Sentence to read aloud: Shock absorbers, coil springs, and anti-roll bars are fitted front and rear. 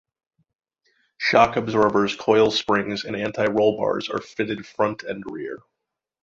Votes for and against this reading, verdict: 2, 0, accepted